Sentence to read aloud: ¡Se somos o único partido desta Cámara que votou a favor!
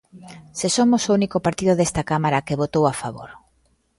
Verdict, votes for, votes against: rejected, 0, 2